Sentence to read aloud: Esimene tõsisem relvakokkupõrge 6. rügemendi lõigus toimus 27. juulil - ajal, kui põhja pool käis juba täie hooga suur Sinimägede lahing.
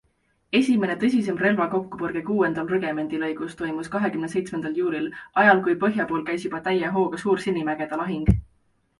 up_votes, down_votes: 0, 2